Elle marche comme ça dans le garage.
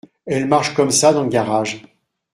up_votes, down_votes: 2, 1